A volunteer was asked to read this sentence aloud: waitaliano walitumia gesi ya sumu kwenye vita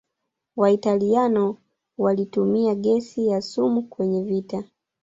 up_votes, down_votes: 0, 2